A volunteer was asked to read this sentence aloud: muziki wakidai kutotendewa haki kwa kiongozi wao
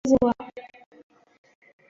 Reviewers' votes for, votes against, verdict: 0, 2, rejected